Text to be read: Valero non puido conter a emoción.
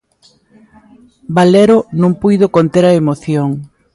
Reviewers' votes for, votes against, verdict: 2, 0, accepted